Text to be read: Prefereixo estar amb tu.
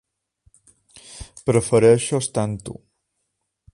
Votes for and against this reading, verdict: 3, 0, accepted